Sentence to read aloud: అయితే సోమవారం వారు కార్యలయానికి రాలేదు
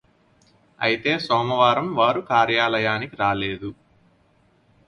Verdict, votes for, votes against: accepted, 4, 0